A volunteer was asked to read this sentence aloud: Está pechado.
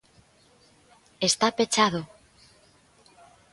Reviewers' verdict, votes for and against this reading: accepted, 2, 0